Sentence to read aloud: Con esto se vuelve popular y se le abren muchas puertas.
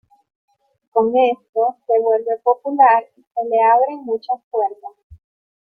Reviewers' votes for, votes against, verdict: 1, 2, rejected